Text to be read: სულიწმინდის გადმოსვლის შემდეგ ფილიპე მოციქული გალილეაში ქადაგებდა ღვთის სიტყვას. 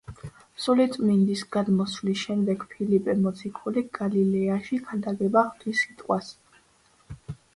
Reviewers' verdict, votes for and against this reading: accepted, 2, 1